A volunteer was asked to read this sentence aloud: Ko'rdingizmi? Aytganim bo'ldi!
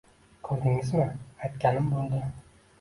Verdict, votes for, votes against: rejected, 1, 2